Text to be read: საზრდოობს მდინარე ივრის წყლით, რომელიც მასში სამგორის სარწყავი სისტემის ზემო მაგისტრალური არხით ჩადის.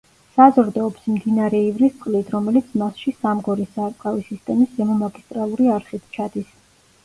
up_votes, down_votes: 0, 2